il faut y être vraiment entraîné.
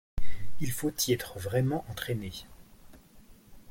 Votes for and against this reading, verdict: 2, 0, accepted